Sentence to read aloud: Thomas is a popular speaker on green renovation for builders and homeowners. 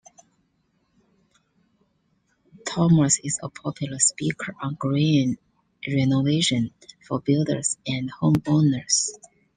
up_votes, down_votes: 2, 0